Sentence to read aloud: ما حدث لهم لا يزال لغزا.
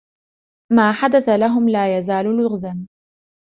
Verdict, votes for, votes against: rejected, 1, 2